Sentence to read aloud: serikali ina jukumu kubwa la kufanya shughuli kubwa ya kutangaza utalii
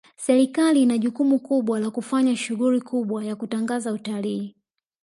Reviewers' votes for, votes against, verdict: 2, 0, accepted